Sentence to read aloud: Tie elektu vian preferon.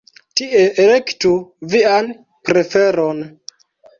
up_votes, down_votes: 1, 2